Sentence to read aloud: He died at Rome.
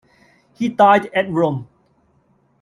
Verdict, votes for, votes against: accepted, 2, 0